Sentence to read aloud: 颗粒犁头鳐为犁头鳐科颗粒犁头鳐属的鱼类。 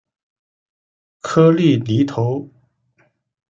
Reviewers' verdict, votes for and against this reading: rejected, 0, 2